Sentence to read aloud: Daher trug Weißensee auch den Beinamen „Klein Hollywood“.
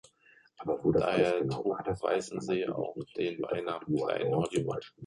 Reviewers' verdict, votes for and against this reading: rejected, 1, 3